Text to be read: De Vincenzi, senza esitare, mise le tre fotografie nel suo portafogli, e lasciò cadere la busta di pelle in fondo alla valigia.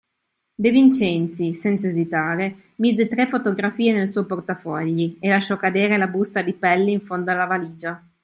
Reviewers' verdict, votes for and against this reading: rejected, 1, 2